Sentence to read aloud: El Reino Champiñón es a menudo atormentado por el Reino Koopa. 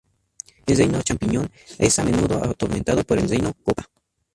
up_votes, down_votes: 2, 0